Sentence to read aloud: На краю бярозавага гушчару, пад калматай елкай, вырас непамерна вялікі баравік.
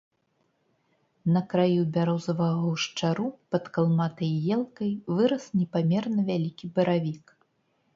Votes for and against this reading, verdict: 2, 0, accepted